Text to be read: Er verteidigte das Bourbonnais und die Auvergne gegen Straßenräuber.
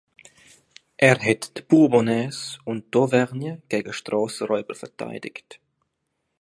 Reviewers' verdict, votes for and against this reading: rejected, 0, 2